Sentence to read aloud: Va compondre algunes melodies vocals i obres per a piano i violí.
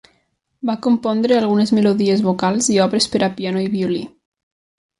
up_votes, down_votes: 2, 0